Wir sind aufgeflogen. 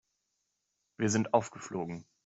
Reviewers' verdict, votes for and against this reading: accepted, 2, 0